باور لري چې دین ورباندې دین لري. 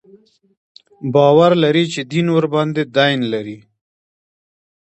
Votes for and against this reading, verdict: 2, 1, accepted